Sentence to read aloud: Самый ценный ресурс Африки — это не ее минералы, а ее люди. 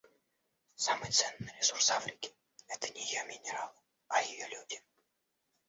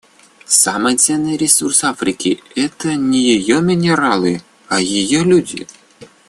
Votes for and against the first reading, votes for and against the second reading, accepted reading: 1, 2, 2, 0, second